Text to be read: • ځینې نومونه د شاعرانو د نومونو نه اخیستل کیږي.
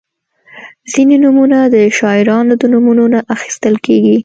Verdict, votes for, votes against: accepted, 2, 0